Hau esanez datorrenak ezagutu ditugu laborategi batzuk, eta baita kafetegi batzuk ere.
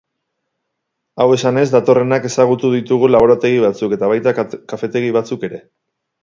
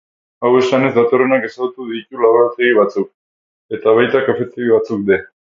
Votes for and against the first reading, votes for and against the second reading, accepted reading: 6, 4, 0, 2, first